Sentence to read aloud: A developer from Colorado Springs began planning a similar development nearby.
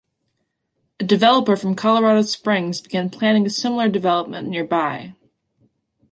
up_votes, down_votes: 2, 0